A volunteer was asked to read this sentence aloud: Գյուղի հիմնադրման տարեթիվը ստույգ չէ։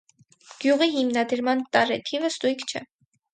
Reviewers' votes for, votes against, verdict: 2, 2, rejected